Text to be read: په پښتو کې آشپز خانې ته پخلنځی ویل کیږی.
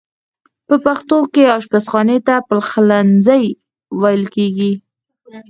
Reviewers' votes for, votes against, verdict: 2, 4, rejected